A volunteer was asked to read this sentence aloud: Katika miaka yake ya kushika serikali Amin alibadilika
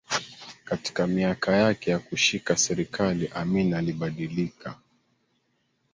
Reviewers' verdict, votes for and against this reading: accepted, 3, 1